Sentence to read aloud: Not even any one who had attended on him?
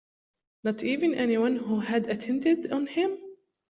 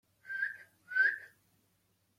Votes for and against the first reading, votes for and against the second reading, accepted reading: 2, 0, 0, 2, first